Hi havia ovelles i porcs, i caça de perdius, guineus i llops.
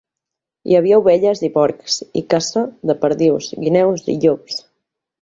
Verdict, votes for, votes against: rejected, 0, 2